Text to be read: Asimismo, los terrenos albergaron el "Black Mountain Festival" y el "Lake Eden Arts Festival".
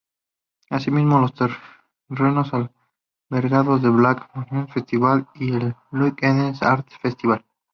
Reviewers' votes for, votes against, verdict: 0, 2, rejected